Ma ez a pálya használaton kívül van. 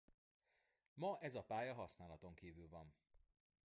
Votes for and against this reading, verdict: 1, 2, rejected